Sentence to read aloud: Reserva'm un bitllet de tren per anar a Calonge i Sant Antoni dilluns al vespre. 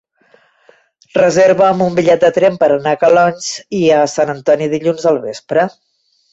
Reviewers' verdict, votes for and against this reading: rejected, 2, 3